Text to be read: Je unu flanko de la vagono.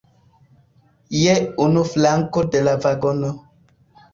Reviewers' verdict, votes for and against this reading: accepted, 2, 0